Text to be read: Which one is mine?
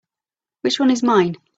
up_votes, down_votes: 2, 0